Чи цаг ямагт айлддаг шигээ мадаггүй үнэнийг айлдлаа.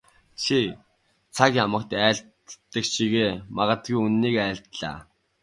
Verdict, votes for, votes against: accepted, 2, 1